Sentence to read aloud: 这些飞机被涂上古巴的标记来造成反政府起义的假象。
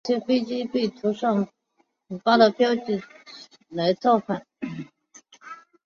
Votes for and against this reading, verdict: 1, 3, rejected